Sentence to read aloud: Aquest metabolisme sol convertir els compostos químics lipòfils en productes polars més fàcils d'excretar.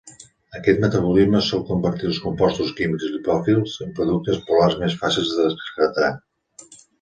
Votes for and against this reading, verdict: 1, 2, rejected